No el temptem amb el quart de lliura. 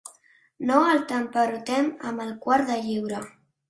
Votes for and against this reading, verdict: 1, 2, rejected